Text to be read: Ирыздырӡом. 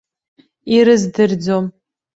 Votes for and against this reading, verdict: 2, 0, accepted